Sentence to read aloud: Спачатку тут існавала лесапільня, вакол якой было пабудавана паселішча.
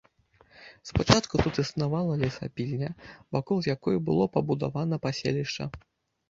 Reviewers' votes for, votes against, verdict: 0, 2, rejected